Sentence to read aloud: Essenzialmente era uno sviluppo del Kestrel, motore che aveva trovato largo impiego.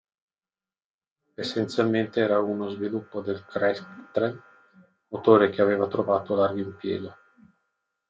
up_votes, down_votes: 0, 2